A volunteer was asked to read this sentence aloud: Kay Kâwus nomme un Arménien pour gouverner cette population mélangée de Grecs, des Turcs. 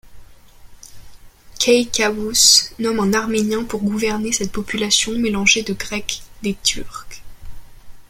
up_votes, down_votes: 0, 2